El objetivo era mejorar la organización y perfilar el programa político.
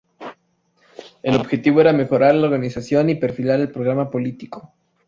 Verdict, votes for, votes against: accepted, 2, 0